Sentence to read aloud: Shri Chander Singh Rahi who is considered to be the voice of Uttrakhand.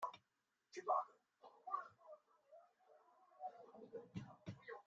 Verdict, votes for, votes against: rejected, 0, 2